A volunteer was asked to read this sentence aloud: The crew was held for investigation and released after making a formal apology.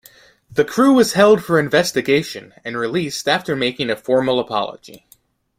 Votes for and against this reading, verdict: 2, 0, accepted